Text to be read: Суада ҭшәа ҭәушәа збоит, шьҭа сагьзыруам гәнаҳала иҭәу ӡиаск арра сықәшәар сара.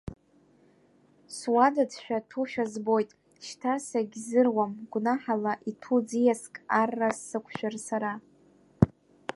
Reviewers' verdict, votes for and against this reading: rejected, 0, 2